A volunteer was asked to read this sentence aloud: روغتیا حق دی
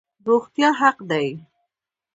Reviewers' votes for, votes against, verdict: 1, 2, rejected